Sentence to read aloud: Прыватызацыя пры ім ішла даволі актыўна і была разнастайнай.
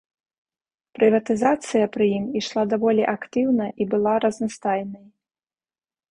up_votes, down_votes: 2, 0